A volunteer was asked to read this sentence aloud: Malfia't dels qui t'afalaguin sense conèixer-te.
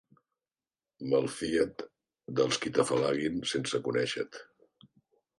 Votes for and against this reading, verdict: 1, 2, rejected